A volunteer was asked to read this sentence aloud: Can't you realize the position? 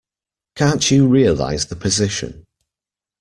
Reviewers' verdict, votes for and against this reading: accepted, 2, 0